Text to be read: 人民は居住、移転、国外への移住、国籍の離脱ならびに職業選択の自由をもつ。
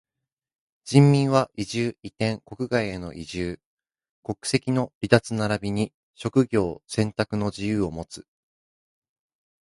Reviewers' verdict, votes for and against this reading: accepted, 2, 0